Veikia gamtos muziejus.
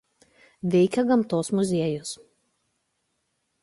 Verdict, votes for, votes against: accepted, 2, 0